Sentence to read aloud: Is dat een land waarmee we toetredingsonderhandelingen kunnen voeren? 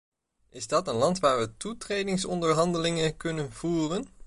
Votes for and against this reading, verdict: 0, 2, rejected